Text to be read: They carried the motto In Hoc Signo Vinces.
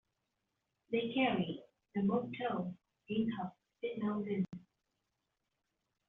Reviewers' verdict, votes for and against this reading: rejected, 0, 2